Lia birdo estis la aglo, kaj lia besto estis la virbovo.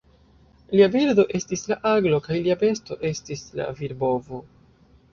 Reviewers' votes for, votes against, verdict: 2, 1, accepted